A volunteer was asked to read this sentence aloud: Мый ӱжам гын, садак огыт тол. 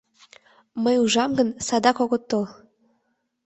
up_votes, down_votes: 1, 2